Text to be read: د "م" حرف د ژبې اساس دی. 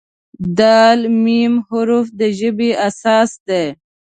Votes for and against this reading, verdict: 1, 2, rejected